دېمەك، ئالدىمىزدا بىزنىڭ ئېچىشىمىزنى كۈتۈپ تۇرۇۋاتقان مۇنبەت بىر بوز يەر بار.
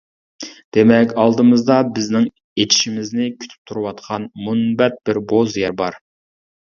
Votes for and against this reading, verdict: 2, 1, accepted